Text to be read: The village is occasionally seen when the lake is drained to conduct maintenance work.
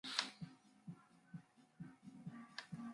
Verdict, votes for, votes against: rejected, 0, 2